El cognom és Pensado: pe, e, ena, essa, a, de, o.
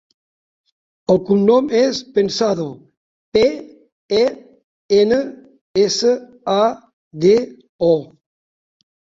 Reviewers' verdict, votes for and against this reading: rejected, 1, 2